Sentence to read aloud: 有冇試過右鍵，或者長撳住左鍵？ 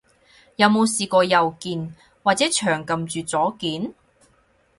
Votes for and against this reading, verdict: 4, 0, accepted